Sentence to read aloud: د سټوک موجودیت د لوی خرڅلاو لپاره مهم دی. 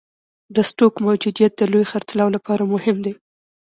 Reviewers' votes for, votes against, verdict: 2, 0, accepted